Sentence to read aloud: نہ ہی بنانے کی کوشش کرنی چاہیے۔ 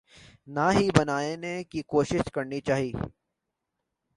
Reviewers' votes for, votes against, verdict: 3, 0, accepted